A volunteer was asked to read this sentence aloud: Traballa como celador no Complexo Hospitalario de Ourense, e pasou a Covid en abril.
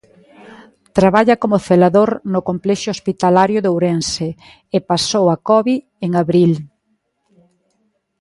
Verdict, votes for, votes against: rejected, 1, 2